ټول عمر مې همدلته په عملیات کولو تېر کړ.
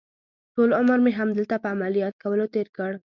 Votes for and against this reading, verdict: 2, 0, accepted